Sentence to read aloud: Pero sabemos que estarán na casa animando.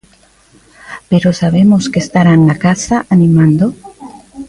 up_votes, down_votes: 1, 2